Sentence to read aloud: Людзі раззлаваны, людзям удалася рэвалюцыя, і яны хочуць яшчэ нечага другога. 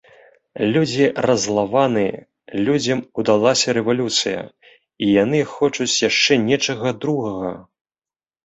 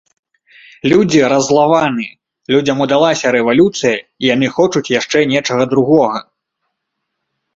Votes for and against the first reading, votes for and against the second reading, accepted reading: 0, 2, 2, 0, second